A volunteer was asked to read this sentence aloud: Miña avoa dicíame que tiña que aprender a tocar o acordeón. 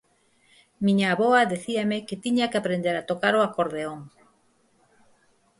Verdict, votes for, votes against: accepted, 4, 0